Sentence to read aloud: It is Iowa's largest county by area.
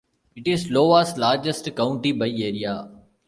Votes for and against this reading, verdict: 0, 2, rejected